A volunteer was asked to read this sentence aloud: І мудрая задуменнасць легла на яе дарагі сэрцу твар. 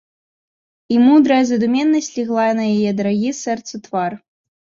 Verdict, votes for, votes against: accepted, 2, 0